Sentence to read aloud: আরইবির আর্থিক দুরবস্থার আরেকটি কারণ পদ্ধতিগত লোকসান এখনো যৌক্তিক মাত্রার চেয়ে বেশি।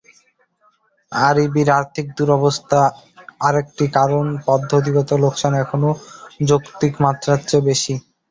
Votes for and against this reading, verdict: 2, 0, accepted